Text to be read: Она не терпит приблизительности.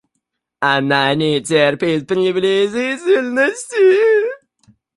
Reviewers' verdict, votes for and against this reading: rejected, 0, 2